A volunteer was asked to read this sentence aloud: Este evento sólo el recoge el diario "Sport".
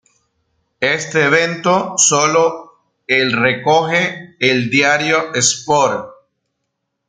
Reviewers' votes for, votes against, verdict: 1, 2, rejected